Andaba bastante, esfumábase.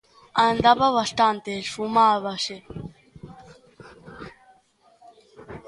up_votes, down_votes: 1, 2